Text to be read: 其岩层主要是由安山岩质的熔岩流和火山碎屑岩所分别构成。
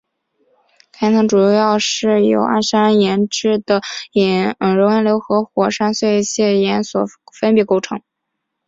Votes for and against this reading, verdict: 2, 0, accepted